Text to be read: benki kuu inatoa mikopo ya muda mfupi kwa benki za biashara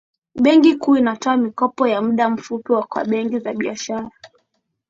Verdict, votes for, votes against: accepted, 2, 0